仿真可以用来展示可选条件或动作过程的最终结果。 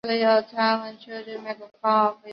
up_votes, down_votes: 0, 2